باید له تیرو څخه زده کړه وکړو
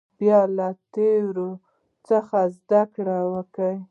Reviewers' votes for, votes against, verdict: 0, 2, rejected